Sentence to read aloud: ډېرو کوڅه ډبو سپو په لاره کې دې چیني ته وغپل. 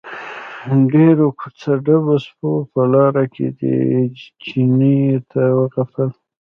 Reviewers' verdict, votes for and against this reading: rejected, 1, 2